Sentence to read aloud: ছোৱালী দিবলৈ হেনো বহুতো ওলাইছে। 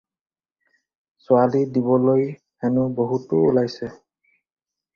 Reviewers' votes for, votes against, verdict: 4, 2, accepted